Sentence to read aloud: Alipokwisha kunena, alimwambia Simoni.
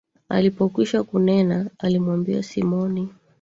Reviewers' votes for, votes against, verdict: 2, 1, accepted